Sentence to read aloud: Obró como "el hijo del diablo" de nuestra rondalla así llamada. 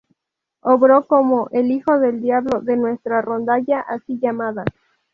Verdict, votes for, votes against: accepted, 2, 0